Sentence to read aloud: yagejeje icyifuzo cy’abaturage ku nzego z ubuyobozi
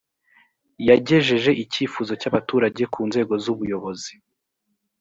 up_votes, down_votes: 3, 0